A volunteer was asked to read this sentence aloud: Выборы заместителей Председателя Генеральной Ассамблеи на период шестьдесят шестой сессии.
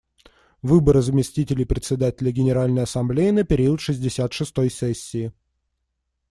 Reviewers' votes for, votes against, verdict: 2, 0, accepted